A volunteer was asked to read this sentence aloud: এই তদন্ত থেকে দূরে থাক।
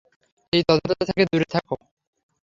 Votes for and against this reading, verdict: 0, 3, rejected